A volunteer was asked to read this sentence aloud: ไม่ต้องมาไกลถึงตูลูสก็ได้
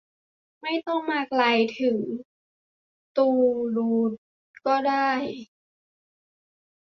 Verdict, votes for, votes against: rejected, 0, 2